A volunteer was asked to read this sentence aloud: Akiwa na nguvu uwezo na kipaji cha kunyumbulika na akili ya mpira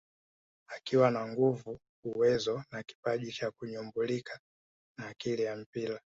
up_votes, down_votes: 4, 1